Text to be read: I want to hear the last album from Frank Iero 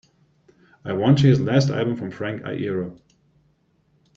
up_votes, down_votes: 2, 0